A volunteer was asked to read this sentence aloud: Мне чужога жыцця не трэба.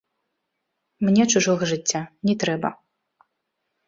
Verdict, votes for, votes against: rejected, 1, 2